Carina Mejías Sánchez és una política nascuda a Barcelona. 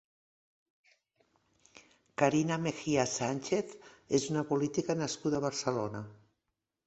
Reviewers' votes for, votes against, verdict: 4, 0, accepted